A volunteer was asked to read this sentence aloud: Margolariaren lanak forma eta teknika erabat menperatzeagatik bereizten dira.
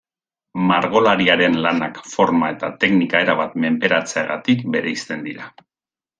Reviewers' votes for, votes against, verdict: 2, 0, accepted